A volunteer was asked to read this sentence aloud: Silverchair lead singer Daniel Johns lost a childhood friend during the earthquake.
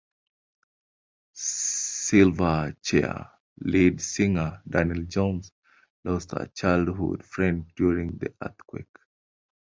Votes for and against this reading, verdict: 2, 1, accepted